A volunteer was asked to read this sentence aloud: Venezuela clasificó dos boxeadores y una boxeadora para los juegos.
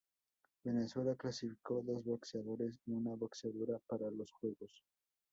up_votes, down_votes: 2, 0